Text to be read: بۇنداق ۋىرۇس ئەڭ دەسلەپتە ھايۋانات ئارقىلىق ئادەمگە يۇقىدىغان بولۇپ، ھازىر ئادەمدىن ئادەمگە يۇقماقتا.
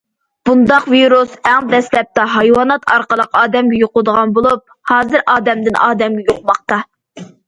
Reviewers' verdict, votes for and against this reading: accepted, 2, 0